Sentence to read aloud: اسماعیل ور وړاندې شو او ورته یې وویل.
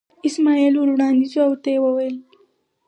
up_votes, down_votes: 4, 0